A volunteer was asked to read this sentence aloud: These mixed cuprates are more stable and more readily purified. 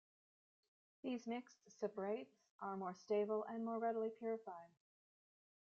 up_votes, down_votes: 0, 2